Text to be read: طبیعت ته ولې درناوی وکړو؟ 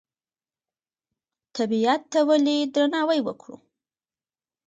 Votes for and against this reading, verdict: 2, 0, accepted